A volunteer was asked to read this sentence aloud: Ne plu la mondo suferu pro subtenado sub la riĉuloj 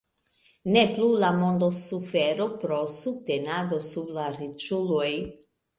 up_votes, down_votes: 2, 0